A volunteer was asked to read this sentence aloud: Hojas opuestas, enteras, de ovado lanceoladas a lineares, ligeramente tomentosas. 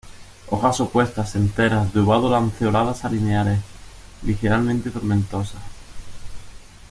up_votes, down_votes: 1, 2